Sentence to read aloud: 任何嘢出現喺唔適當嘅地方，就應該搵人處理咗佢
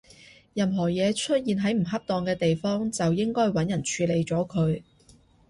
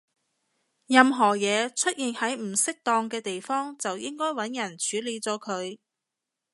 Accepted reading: second